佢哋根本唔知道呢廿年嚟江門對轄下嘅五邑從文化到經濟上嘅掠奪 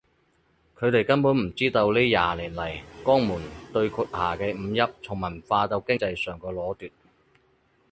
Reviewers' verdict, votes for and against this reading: rejected, 2, 4